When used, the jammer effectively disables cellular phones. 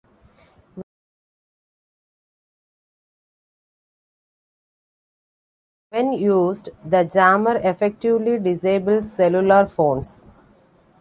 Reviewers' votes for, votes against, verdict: 2, 1, accepted